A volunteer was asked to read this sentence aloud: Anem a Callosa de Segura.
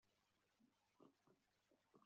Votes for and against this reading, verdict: 0, 2, rejected